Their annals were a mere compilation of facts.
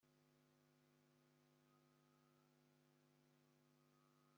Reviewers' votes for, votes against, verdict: 0, 2, rejected